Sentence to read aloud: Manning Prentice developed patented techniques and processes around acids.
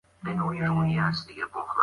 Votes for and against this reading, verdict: 0, 2, rejected